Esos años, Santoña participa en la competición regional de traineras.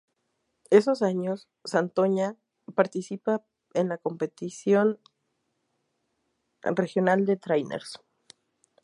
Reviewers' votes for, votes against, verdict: 2, 2, rejected